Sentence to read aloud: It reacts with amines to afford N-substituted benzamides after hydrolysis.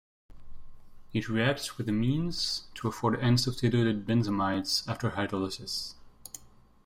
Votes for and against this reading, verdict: 2, 1, accepted